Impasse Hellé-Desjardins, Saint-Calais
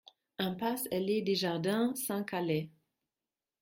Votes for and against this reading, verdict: 2, 0, accepted